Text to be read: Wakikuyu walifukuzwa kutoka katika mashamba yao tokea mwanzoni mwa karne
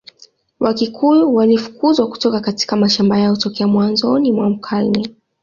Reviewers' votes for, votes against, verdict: 2, 0, accepted